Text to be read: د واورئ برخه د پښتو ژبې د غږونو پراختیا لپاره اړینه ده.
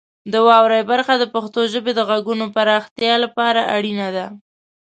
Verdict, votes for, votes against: accepted, 2, 0